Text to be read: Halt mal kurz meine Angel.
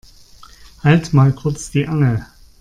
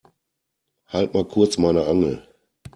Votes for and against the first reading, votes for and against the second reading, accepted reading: 0, 2, 2, 0, second